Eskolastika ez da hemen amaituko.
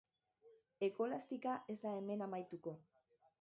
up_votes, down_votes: 1, 2